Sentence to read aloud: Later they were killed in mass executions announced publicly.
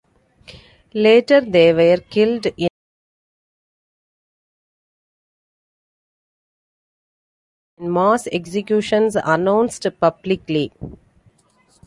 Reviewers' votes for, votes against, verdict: 1, 2, rejected